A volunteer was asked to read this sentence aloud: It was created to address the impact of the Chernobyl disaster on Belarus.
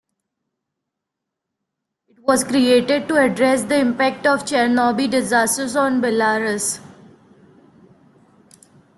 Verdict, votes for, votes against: rejected, 0, 2